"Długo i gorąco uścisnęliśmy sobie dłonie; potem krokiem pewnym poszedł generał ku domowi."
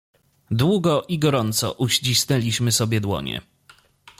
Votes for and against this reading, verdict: 1, 2, rejected